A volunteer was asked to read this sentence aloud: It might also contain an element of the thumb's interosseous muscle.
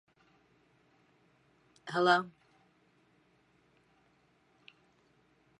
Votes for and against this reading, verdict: 0, 2, rejected